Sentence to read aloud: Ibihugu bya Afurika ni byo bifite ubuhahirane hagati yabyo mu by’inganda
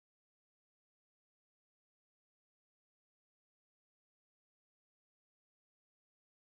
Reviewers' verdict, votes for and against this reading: rejected, 0, 2